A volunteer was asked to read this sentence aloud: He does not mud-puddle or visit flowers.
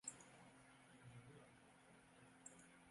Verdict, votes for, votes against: rejected, 0, 2